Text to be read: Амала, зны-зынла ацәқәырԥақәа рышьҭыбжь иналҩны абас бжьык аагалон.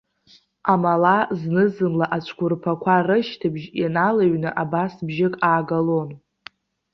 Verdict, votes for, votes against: accepted, 2, 0